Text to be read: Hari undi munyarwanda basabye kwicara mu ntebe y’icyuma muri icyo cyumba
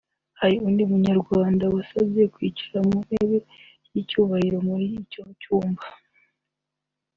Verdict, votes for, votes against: rejected, 1, 2